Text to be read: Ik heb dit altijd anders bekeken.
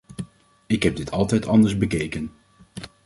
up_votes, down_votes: 2, 0